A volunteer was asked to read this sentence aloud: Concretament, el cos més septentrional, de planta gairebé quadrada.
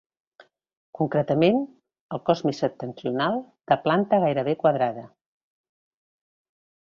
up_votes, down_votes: 2, 0